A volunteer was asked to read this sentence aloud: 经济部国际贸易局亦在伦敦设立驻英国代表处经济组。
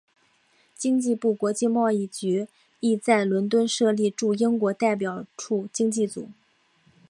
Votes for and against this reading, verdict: 6, 1, accepted